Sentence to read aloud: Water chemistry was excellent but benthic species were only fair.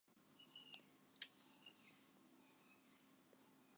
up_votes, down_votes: 0, 2